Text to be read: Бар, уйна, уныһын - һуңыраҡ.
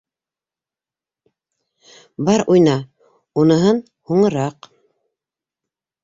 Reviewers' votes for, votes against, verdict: 2, 0, accepted